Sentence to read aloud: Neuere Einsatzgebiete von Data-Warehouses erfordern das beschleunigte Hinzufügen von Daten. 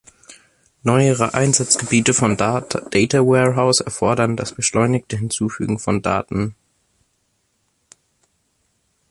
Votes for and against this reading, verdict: 0, 2, rejected